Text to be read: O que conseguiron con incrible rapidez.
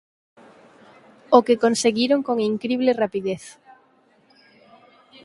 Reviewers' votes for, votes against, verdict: 4, 0, accepted